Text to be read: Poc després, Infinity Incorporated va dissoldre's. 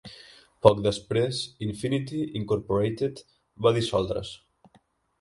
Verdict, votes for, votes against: accepted, 3, 0